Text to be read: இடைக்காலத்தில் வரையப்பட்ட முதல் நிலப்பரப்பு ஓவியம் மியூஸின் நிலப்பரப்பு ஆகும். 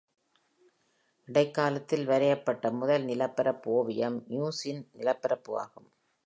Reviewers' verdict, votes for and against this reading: accepted, 2, 0